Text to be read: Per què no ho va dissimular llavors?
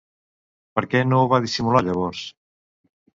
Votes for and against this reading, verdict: 2, 0, accepted